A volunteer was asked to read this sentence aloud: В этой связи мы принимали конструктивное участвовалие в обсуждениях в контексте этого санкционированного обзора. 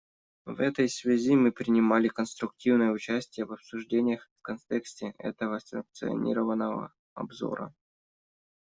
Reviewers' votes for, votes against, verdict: 1, 2, rejected